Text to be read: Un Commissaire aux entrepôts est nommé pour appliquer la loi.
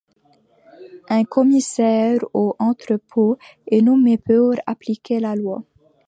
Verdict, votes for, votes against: rejected, 1, 2